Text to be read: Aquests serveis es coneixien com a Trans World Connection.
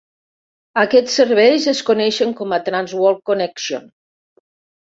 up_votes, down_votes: 1, 2